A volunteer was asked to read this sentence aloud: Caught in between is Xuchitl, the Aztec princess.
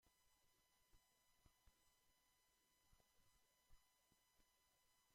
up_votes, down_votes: 0, 2